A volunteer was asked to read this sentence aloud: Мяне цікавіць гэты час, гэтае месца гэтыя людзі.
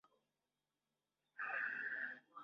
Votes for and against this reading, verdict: 0, 2, rejected